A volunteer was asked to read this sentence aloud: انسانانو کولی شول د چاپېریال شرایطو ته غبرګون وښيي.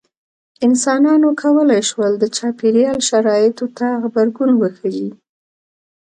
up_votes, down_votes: 2, 0